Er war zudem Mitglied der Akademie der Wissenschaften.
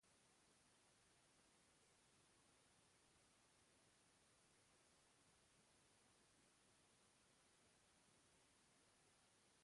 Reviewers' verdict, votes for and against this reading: rejected, 0, 2